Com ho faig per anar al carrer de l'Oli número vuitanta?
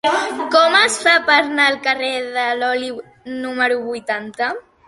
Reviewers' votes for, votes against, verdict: 1, 3, rejected